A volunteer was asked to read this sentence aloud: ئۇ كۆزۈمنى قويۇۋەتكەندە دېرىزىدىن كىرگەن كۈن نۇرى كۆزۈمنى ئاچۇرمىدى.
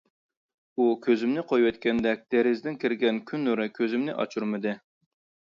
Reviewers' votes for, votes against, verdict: 2, 1, accepted